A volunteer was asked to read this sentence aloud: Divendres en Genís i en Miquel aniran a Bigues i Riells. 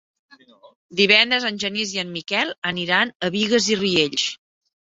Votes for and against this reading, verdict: 3, 0, accepted